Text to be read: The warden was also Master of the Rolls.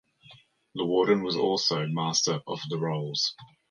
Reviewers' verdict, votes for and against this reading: accepted, 2, 0